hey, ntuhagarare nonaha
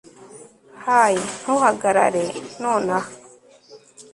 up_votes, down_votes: 1, 2